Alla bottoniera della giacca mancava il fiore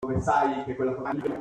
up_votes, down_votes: 0, 2